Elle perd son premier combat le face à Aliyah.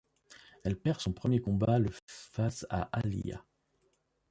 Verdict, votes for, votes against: rejected, 0, 2